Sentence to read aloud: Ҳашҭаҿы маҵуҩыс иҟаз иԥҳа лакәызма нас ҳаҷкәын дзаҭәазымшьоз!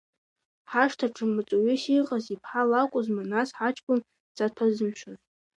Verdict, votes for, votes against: rejected, 1, 2